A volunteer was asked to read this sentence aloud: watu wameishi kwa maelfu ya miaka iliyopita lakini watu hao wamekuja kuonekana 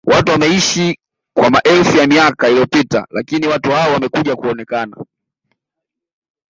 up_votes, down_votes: 2, 0